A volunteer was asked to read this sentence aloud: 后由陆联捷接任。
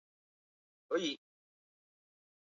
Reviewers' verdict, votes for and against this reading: rejected, 2, 5